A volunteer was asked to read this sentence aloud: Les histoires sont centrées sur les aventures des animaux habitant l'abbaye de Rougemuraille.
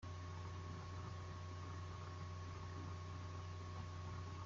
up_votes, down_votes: 0, 2